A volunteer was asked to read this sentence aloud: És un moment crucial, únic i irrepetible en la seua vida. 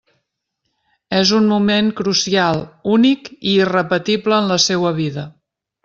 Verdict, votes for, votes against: accepted, 3, 0